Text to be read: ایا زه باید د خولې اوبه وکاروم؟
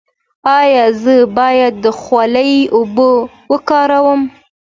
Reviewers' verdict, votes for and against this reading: accepted, 2, 0